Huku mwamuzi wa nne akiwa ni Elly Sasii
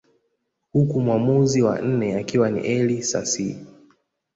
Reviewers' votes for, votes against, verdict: 2, 0, accepted